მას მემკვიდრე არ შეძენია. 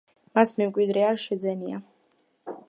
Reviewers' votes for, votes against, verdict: 2, 1, accepted